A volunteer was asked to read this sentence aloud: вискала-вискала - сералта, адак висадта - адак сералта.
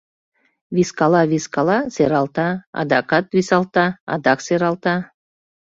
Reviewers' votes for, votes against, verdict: 0, 2, rejected